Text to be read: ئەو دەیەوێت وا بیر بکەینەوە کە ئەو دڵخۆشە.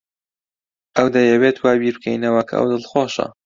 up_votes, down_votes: 2, 0